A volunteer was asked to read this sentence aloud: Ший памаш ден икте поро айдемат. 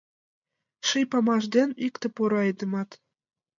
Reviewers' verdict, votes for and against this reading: accepted, 3, 0